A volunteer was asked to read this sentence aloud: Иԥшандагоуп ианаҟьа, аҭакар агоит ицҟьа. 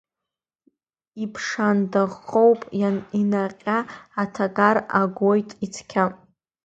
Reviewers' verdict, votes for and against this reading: rejected, 0, 2